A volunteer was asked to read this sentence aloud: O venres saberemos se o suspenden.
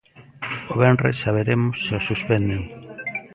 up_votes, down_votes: 2, 0